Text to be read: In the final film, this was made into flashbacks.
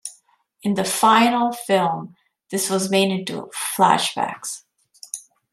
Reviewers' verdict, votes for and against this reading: accepted, 2, 1